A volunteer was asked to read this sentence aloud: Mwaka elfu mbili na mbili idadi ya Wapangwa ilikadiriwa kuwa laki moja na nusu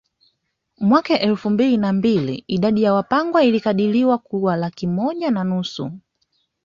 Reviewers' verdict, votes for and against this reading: rejected, 0, 2